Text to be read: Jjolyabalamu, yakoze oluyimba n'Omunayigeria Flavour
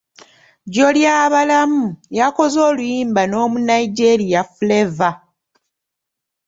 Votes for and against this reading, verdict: 2, 0, accepted